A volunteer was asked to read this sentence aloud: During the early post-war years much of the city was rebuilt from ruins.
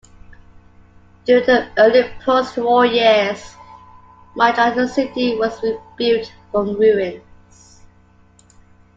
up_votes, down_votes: 2, 0